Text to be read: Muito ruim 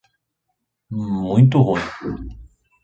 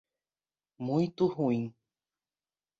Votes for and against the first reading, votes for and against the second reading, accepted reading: 1, 2, 2, 0, second